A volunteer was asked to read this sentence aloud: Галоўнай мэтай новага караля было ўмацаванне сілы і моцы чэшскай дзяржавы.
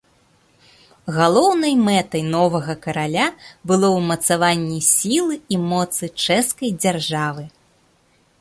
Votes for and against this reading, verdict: 2, 0, accepted